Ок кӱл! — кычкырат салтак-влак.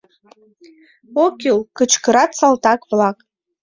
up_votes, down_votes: 2, 0